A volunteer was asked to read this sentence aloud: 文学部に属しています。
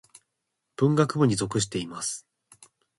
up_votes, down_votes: 2, 1